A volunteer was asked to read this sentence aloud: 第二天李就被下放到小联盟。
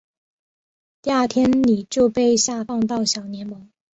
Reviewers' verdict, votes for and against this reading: accepted, 3, 0